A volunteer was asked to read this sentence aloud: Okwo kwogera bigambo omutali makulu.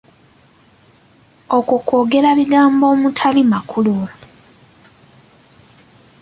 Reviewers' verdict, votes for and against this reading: accepted, 2, 0